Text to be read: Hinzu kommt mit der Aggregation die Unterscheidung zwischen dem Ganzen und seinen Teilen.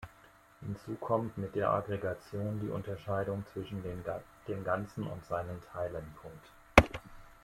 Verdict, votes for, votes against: rejected, 1, 2